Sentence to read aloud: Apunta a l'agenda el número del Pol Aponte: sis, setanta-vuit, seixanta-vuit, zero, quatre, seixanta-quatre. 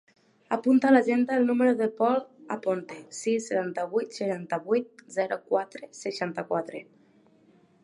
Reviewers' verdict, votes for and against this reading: rejected, 1, 2